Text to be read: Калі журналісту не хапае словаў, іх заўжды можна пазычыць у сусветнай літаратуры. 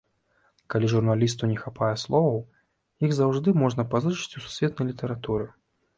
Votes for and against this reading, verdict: 3, 0, accepted